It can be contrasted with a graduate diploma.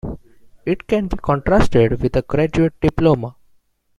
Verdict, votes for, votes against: accepted, 2, 1